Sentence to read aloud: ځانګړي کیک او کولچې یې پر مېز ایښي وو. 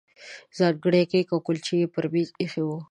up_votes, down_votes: 2, 1